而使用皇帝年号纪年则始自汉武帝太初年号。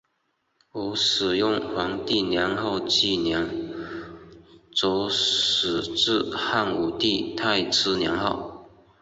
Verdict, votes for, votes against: accepted, 4, 3